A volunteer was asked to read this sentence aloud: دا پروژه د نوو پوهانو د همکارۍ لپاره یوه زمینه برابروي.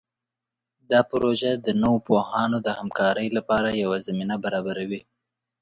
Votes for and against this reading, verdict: 2, 0, accepted